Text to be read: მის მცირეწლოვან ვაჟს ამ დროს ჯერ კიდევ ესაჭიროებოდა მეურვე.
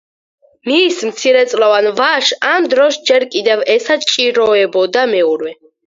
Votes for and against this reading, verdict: 2, 4, rejected